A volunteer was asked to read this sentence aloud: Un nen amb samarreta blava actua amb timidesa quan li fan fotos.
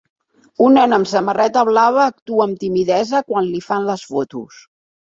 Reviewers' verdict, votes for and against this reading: rejected, 1, 2